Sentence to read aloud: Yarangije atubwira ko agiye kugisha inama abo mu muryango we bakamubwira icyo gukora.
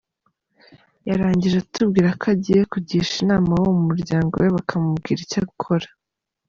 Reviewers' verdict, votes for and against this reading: accepted, 2, 1